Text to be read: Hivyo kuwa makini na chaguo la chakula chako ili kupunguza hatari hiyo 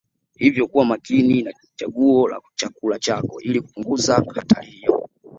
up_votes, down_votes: 2, 0